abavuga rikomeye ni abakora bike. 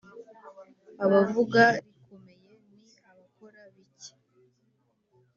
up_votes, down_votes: 1, 2